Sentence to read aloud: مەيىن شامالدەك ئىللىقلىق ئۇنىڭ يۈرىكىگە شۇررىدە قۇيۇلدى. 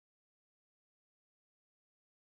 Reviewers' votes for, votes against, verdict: 0, 2, rejected